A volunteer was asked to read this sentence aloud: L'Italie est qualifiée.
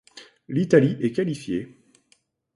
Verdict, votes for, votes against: accepted, 2, 0